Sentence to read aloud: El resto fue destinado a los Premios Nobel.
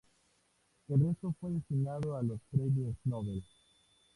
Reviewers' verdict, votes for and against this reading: accepted, 2, 0